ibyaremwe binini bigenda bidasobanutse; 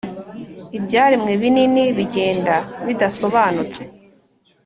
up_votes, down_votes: 3, 0